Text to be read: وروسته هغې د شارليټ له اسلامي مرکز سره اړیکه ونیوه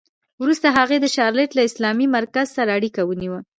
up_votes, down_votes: 1, 2